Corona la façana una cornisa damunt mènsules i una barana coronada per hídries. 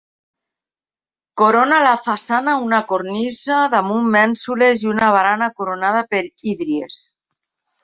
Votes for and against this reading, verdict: 2, 0, accepted